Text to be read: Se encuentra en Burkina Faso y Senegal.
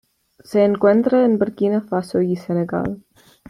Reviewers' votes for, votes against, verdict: 2, 0, accepted